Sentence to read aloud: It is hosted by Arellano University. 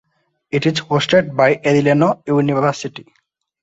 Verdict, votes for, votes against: accepted, 2, 1